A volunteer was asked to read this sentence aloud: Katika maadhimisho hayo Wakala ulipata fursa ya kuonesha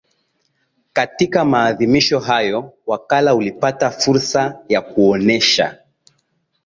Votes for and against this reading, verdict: 2, 0, accepted